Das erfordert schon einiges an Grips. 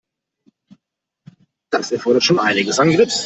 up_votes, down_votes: 0, 2